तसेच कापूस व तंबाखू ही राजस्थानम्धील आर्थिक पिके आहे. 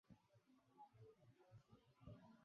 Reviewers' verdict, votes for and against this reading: rejected, 0, 2